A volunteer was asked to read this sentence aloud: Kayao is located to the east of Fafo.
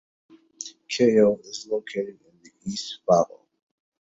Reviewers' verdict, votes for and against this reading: rejected, 1, 2